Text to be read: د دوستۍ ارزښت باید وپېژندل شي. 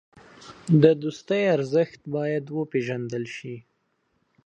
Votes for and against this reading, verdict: 3, 0, accepted